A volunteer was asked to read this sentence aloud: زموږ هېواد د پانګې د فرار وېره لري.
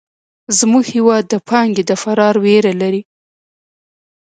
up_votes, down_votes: 0, 2